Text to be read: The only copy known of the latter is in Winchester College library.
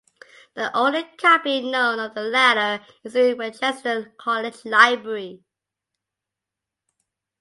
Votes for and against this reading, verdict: 2, 1, accepted